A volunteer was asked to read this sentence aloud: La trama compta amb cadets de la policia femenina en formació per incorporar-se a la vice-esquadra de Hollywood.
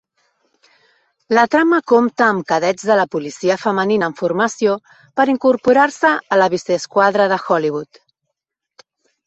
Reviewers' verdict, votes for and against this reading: accepted, 2, 1